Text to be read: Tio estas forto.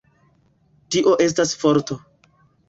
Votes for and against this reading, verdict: 1, 2, rejected